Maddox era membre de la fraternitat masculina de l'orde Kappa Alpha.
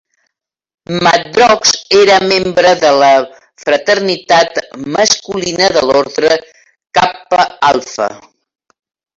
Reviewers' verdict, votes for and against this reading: rejected, 0, 3